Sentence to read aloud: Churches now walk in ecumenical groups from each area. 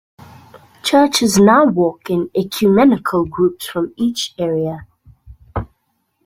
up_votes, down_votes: 2, 0